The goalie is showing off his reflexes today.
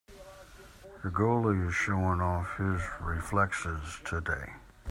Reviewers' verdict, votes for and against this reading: accepted, 2, 0